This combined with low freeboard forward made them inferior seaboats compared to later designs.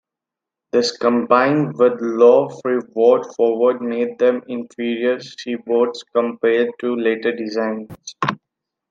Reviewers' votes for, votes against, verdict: 2, 0, accepted